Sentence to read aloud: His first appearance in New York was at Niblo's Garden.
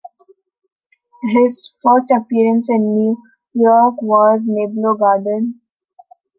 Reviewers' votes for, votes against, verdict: 0, 2, rejected